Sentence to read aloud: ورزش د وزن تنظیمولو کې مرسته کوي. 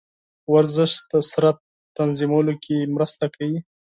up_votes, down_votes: 0, 4